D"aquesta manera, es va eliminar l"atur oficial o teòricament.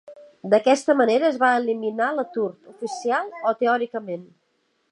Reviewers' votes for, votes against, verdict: 2, 0, accepted